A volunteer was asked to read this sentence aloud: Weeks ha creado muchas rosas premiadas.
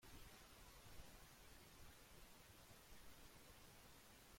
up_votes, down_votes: 0, 2